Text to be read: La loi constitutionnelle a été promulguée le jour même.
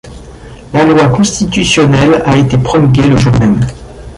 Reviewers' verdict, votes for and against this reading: rejected, 0, 2